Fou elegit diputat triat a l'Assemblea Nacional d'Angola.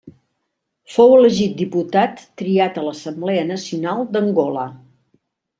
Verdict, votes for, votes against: accepted, 3, 0